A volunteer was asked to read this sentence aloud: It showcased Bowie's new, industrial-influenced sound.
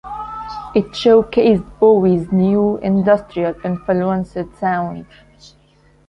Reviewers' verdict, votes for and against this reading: accepted, 2, 1